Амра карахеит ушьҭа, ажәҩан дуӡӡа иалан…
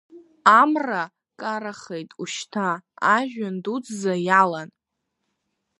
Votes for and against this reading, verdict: 2, 1, accepted